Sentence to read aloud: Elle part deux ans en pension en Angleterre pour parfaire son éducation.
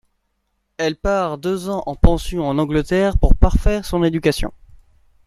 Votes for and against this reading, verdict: 2, 0, accepted